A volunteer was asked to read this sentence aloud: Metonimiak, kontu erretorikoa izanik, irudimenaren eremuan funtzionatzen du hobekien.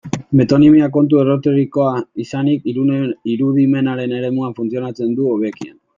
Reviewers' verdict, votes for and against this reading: rejected, 0, 2